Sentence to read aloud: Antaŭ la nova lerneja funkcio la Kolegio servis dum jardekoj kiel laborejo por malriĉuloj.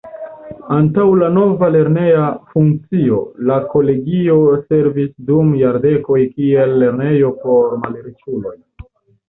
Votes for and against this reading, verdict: 1, 2, rejected